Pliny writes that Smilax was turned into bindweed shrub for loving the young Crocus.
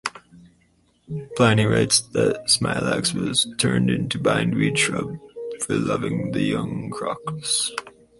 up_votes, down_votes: 4, 0